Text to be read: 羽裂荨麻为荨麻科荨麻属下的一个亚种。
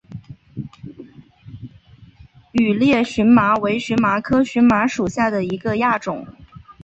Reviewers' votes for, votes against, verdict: 0, 2, rejected